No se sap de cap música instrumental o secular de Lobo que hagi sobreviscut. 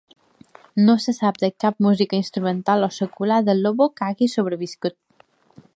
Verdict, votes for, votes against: accepted, 2, 1